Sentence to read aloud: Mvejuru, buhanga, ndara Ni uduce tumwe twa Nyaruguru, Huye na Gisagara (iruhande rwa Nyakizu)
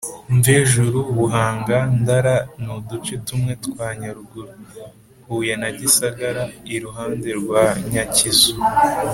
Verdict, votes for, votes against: accepted, 2, 0